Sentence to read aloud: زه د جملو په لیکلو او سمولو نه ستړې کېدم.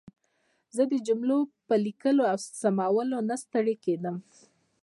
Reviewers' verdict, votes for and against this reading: rejected, 1, 2